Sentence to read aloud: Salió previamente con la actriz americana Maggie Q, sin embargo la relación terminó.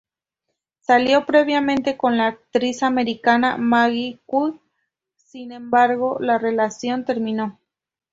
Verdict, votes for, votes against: rejected, 0, 2